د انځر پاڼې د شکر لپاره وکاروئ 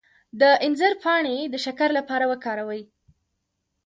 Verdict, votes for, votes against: accepted, 2, 1